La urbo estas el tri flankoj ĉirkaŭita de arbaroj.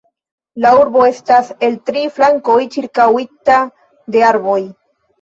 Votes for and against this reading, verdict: 1, 2, rejected